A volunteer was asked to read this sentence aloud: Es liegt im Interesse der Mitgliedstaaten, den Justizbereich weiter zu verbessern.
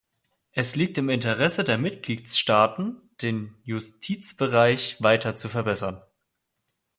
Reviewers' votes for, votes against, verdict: 0, 2, rejected